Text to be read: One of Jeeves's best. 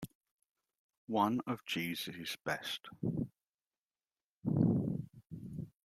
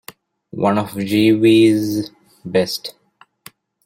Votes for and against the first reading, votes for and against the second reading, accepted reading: 2, 0, 0, 2, first